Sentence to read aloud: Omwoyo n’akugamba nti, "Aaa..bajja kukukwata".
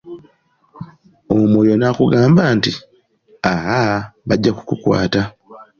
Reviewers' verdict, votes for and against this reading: accepted, 2, 0